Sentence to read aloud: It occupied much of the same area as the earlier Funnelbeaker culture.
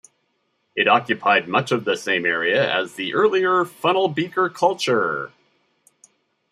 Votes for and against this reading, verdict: 2, 0, accepted